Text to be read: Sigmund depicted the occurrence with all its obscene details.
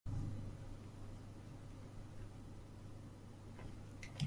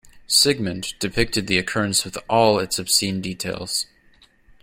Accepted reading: second